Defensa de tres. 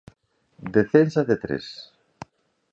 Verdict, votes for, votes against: accepted, 2, 0